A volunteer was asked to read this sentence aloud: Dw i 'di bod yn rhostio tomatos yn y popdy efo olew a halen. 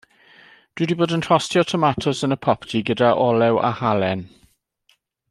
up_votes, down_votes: 0, 2